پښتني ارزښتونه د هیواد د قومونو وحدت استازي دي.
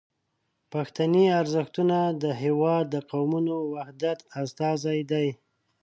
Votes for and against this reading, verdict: 0, 2, rejected